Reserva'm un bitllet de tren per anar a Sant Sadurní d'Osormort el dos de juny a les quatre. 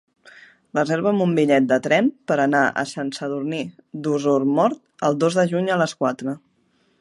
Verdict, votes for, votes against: accepted, 2, 0